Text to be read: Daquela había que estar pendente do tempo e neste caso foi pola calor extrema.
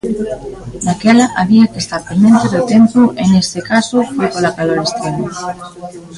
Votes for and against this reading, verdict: 0, 2, rejected